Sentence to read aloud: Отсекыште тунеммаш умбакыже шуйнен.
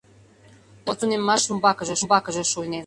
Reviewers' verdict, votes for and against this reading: rejected, 0, 2